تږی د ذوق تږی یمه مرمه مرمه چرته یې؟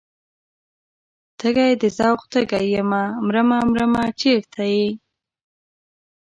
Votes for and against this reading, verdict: 2, 0, accepted